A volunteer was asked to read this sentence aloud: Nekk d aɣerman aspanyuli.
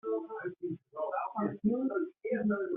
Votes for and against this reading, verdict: 0, 2, rejected